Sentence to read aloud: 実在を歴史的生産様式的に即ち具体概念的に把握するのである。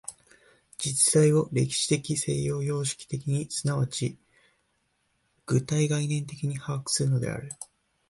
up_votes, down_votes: 1, 2